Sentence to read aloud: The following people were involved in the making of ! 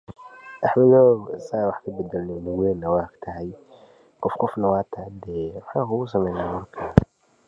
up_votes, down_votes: 0, 2